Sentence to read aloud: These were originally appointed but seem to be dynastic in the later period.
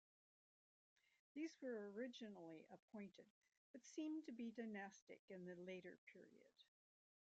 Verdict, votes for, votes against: accepted, 2, 1